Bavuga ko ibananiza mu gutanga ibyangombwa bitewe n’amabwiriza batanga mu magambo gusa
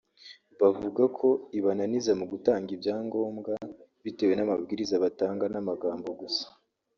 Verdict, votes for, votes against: rejected, 0, 3